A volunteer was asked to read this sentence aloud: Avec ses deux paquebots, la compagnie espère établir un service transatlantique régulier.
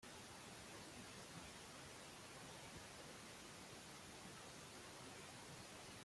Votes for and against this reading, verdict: 0, 2, rejected